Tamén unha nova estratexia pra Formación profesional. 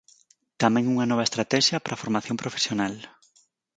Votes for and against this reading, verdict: 4, 0, accepted